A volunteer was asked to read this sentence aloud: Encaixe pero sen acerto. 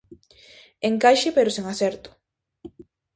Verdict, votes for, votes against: accepted, 2, 0